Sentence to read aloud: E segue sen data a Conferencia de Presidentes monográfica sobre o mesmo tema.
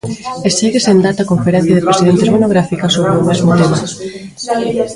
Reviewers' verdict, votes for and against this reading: rejected, 0, 2